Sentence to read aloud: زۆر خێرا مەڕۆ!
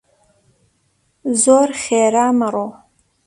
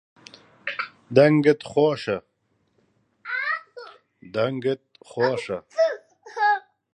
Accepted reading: first